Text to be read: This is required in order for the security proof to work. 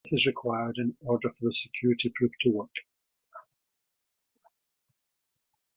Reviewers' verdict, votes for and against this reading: rejected, 1, 2